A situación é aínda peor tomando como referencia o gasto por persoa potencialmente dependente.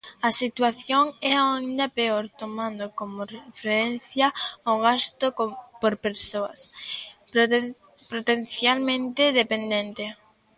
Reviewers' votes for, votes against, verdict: 0, 2, rejected